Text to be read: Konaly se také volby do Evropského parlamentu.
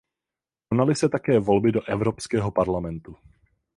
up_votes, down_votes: 0, 4